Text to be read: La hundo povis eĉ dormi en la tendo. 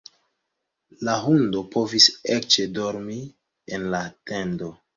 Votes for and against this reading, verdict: 2, 0, accepted